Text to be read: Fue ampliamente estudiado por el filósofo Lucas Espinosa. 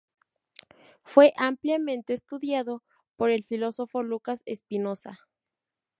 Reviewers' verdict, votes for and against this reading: accepted, 2, 0